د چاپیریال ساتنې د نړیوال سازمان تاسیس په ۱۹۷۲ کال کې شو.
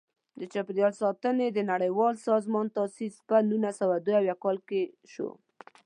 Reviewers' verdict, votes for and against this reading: rejected, 0, 2